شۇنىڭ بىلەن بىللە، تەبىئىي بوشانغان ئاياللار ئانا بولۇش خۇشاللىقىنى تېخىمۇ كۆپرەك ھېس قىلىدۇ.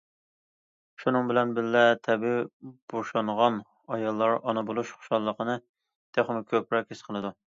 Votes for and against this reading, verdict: 2, 0, accepted